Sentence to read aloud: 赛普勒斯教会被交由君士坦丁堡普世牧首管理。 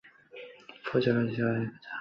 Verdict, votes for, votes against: rejected, 0, 2